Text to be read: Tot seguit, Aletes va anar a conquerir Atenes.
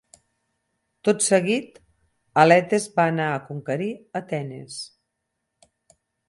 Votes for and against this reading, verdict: 8, 0, accepted